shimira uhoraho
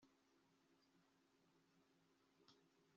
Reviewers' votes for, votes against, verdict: 1, 2, rejected